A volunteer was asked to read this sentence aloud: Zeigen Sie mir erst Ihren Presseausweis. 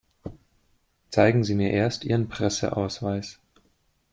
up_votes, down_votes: 2, 0